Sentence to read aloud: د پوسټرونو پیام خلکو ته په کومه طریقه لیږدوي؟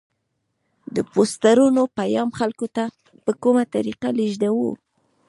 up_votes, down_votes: 1, 2